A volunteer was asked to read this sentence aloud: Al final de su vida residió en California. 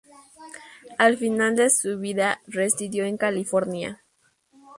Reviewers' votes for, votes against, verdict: 2, 0, accepted